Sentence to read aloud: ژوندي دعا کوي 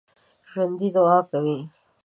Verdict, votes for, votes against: accepted, 2, 0